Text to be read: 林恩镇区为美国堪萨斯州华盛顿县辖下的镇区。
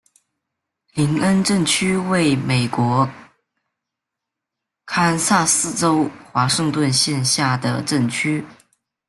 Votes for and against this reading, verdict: 1, 2, rejected